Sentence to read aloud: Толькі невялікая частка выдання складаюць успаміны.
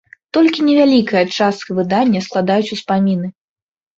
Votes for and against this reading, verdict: 2, 0, accepted